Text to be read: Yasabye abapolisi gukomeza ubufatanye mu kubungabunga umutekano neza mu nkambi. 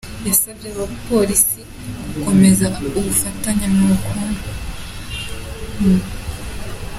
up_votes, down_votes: 0, 3